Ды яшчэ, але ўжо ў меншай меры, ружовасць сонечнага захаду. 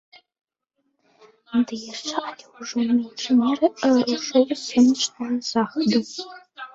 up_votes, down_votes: 1, 2